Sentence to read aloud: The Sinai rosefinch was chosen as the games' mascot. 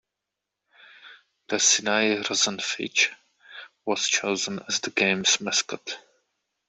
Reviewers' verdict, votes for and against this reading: rejected, 0, 2